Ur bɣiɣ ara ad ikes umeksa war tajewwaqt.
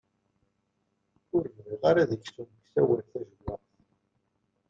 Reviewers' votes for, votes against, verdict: 0, 2, rejected